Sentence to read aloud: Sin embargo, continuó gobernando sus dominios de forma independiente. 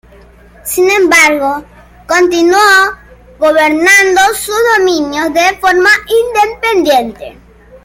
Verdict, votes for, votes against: accepted, 2, 1